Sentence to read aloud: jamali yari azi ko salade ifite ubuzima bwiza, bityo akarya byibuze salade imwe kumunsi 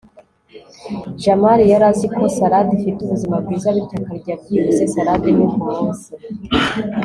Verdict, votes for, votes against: accepted, 4, 0